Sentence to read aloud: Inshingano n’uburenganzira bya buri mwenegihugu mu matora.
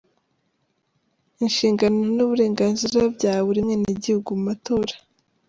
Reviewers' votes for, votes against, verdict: 0, 2, rejected